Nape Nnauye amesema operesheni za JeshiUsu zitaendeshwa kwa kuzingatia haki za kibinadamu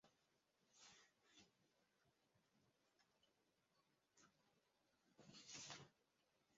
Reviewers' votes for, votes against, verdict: 0, 2, rejected